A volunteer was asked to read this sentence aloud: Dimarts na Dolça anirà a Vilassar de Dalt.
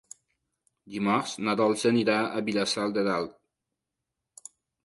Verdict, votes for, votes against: accepted, 2, 0